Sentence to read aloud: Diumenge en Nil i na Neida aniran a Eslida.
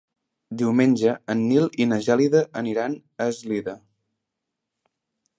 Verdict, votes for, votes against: rejected, 0, 2